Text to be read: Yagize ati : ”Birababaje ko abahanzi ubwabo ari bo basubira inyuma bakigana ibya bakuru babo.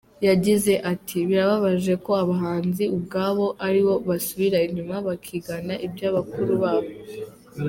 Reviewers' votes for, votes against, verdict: 2, 0, accepted